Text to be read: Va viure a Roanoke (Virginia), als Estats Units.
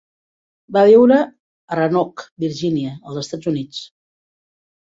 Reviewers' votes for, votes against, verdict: 2, 0, accepted